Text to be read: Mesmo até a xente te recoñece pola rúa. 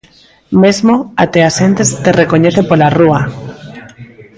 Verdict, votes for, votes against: rejected, 0, 2